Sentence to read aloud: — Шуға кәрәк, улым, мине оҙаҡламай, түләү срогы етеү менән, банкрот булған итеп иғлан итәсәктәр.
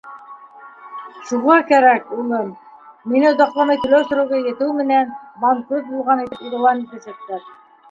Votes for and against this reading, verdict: 2, 0, accepted